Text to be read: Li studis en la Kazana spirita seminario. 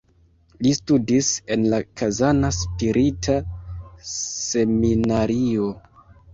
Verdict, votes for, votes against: rejected, 1, 2